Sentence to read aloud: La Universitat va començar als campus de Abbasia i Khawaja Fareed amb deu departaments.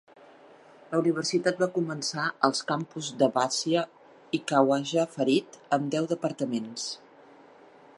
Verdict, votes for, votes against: accepted, 2, 0